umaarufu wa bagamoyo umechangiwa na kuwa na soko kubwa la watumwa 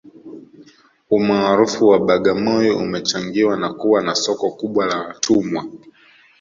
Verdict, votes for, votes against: accepted, 2, 0